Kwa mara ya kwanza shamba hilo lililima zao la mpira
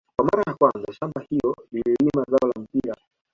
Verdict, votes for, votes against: rejected, 2, 3